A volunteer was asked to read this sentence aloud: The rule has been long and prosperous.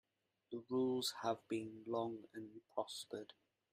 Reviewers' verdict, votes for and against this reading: rejected, 0, 2